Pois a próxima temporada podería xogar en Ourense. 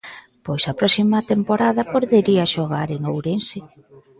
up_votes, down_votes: 2, 0